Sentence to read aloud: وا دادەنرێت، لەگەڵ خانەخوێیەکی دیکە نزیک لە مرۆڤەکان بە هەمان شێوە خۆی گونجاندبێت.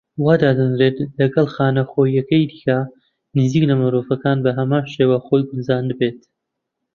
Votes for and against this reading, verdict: 2, 1, accepted